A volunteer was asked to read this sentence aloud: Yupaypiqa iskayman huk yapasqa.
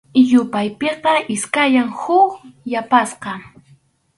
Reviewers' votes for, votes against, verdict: 0, 2, rejected